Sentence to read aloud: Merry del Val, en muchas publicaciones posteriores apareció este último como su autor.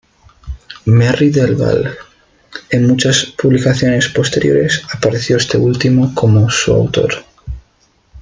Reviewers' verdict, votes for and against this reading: rejected, 1, 2